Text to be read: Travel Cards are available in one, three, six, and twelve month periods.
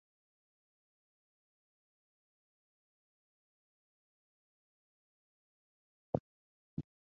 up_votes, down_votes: 0, 2